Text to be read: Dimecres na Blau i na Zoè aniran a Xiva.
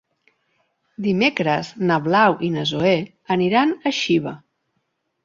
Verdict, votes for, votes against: accepted, 4, 0